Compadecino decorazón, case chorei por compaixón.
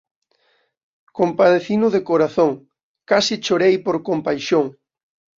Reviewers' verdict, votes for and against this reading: rejected, 0, 2